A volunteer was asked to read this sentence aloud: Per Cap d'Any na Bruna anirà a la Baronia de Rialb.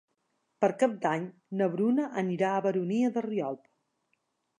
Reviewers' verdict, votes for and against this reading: rejected, 1, 2